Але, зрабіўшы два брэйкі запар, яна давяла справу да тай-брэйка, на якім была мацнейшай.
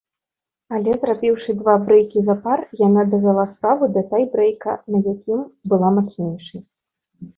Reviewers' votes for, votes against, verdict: 1, 2, rejected